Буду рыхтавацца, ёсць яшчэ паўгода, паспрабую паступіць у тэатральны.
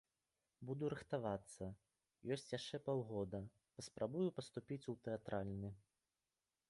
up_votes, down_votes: 1, 2